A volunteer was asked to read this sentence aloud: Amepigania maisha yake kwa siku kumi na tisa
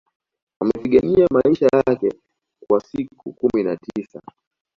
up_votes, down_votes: 2, 0